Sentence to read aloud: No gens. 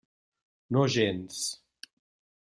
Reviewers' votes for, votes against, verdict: 3, 0, accepted